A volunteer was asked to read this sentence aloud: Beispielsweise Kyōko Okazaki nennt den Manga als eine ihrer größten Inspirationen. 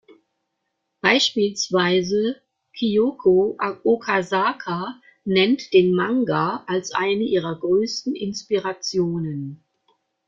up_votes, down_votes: 0, 2